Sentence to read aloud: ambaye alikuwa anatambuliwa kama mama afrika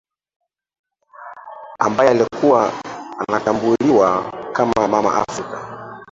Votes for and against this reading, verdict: 0, 2, rejected